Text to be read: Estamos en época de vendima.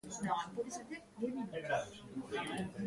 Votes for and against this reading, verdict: 0, 2, rejected